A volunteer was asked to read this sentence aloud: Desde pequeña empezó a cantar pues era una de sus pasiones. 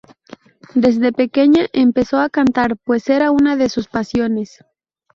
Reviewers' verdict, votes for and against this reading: accepted, 2, 0